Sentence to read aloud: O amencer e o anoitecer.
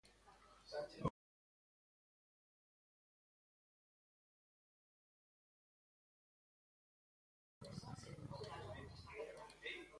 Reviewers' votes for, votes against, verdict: 0, 2, rejected